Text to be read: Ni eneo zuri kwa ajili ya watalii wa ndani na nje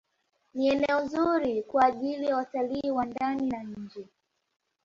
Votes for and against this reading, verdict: 1, 2, rejected